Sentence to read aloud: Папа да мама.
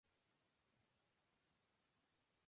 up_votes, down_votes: 0, 2